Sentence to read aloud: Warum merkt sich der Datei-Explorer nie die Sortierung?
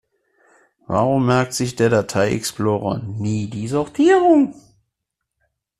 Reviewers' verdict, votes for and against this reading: accepted, 2, 0